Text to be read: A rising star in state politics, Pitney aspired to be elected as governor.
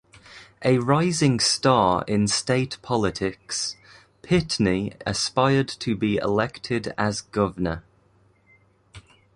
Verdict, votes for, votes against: accepted, 2, 1